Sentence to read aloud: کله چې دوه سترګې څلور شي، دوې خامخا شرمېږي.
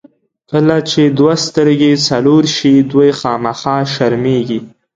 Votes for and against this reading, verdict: 2, 0, accepted